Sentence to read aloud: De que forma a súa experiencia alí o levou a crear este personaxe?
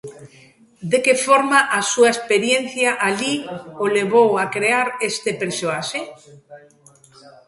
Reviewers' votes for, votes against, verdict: 0, 2, rejected